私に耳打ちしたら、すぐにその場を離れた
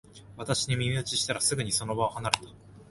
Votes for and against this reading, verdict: 2, 0, accepted